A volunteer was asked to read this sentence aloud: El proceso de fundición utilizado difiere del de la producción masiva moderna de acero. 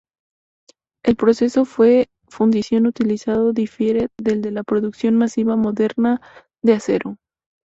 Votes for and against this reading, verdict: 0, 2, rejected